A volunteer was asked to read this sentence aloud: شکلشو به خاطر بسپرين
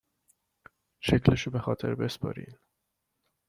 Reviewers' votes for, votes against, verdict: 2, 1, accepted